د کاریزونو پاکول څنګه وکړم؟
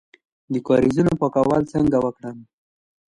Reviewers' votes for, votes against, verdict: 2, 0, accepted